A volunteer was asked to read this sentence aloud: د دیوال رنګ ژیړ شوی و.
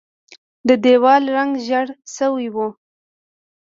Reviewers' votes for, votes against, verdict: 2, 0, accepted